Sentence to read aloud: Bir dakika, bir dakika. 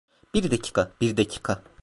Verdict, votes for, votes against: rejected, 0, 2